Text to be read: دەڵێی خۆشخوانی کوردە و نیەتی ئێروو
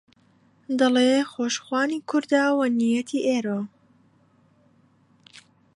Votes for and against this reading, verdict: 1, 2, rejected